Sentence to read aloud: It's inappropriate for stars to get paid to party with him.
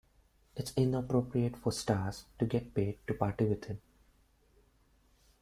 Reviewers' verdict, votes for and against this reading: rejected, 0, 2